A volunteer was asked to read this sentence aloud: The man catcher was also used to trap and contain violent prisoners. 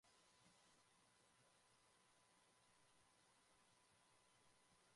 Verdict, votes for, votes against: rejected, 1, 2